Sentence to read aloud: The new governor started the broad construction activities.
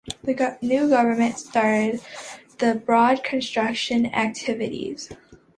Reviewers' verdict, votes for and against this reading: rejected, 1, 2